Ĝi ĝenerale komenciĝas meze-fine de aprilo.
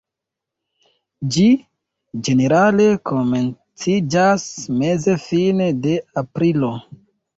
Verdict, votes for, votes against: rejected, 0, 2